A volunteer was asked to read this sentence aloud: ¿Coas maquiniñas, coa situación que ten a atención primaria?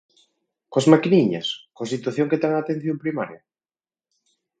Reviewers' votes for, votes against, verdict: 4, 0, accepted